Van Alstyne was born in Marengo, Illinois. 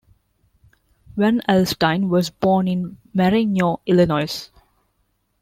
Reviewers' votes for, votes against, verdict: 0, 2, rejected